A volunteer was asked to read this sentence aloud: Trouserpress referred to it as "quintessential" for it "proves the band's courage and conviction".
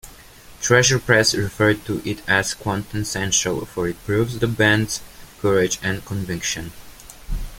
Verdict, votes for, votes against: rejected, 0, 2